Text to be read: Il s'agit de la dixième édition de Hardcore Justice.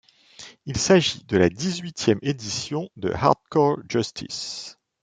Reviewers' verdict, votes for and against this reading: rejected, 1, 2